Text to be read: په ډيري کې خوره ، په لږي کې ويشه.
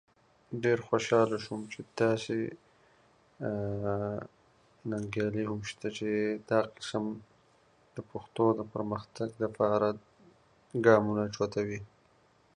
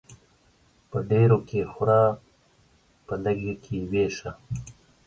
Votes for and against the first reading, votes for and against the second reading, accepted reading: 0, 2, 2, 1, second